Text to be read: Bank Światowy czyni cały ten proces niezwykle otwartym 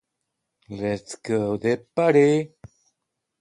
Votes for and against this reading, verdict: 0, 2, rejected